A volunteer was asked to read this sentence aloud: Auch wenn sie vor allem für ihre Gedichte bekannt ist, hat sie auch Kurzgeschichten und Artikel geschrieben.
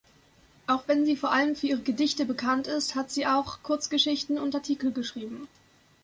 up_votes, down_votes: 2, 0